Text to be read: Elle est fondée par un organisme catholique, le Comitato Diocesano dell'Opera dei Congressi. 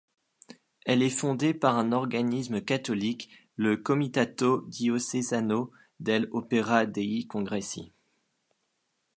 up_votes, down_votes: 2, 0